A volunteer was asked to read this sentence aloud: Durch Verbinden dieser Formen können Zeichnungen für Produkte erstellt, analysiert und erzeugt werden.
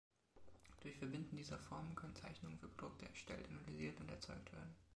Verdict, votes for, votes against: rejected, 0, 2